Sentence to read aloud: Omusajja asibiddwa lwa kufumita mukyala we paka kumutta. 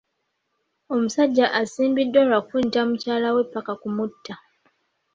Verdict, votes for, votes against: rejected, 0, 2